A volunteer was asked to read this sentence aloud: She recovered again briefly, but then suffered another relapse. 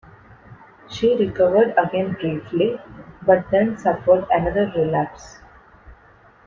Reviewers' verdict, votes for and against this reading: accepted, 2, 0